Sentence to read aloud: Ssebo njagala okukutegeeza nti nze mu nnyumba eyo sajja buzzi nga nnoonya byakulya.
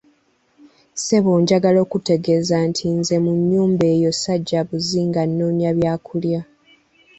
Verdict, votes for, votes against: accepted, 2, 0